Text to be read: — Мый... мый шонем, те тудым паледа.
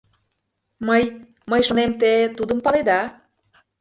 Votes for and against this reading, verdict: 2, 0, accepted